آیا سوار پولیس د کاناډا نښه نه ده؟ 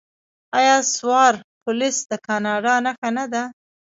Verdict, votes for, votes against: rejected, 0, 2